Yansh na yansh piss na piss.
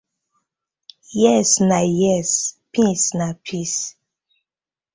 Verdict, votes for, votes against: rejected, 1, 2